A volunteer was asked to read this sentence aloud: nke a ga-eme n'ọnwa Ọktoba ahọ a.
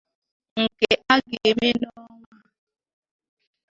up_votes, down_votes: 0, 2